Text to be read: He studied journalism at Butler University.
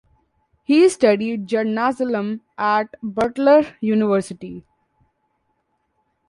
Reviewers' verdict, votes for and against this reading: rejected, 1, 2